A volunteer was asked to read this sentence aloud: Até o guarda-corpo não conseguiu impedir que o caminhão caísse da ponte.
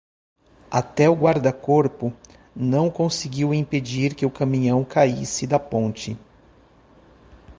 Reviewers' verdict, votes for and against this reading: accepted, 2, 0